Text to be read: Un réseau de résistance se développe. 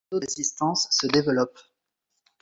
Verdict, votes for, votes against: rejected, 0, 2